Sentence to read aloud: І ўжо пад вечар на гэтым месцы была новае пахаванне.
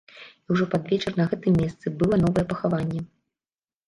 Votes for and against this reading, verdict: 2, 0, accepted